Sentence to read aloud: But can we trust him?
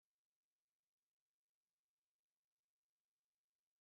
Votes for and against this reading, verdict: 0, 3, rejected